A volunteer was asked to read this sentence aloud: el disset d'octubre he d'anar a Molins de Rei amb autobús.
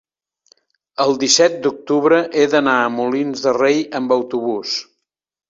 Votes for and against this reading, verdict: 2, 0, accepted